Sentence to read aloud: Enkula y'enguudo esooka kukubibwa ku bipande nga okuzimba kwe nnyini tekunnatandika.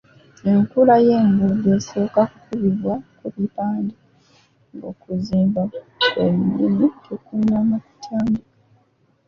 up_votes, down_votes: 0, 2